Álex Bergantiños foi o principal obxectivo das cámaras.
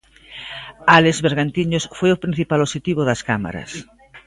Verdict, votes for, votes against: accepted, 2, 0